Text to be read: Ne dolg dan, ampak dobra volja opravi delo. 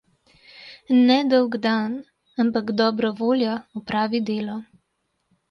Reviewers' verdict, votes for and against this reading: accepted, 2, 0